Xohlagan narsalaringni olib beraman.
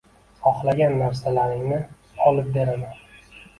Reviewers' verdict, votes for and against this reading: rejected, 1, 2